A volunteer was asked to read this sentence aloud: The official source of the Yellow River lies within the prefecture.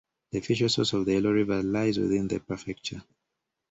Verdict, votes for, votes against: rejected, 1, 2